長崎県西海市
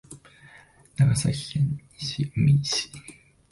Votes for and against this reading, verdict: 2, 1, accepted